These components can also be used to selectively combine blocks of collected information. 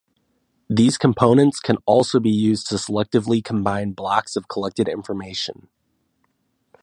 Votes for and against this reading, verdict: 2, 0, accepted